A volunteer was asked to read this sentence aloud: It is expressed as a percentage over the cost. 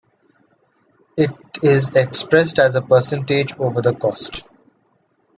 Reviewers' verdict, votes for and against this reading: accepted, 2, 0